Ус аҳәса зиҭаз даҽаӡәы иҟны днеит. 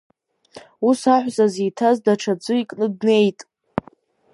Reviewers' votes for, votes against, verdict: 1, 2, rejected